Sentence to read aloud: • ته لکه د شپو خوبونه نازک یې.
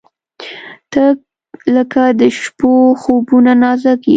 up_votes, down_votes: 2, 0